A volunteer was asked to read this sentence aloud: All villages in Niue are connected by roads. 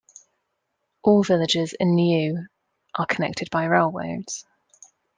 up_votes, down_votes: 1, 2